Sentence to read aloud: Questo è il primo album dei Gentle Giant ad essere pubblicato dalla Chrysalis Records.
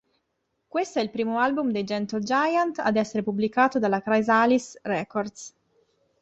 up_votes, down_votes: 2, 0